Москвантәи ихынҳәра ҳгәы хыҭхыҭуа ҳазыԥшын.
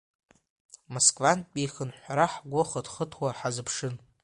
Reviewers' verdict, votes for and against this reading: rejected, 1, 2